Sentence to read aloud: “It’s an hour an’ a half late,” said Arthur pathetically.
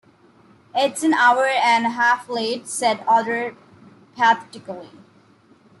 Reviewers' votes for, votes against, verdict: 2, 0, accepted